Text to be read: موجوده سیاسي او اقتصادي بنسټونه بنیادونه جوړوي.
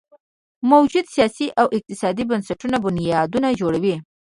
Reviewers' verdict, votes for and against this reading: rejected, 1, 2